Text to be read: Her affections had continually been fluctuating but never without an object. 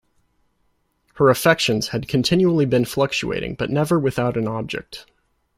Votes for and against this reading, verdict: 2, 0, accepted